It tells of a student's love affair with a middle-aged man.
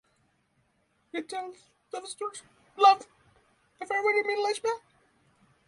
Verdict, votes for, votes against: rejected, 0, 6